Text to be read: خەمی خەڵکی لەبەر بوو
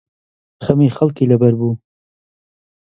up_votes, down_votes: 2, 0